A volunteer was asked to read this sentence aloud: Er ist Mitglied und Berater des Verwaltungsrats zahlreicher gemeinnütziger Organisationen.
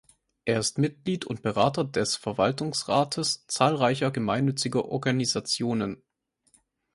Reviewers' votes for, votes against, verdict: 0, 2, rejected